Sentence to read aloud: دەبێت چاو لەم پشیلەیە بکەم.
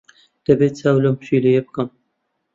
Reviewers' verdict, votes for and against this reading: accepted, 2, 0